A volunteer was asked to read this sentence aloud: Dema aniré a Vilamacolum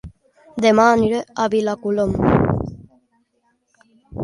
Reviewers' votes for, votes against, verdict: 0, 2, rejected